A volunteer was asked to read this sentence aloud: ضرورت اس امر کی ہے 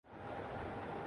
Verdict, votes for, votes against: rejected, 0, 2